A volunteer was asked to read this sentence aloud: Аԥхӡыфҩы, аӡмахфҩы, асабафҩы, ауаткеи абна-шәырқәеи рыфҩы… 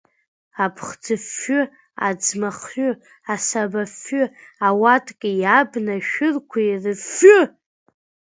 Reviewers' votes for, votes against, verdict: 0, 2, rejected